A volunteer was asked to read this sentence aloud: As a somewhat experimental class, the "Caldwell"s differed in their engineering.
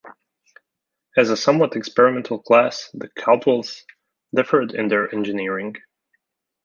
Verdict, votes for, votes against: accepted, 2, 0